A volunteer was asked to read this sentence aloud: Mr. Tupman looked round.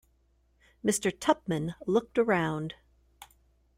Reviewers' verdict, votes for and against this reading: rejected, 1, 2